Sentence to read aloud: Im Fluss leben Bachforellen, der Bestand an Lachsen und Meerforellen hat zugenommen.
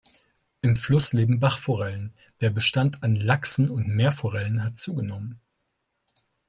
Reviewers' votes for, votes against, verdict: 2, 0, accepted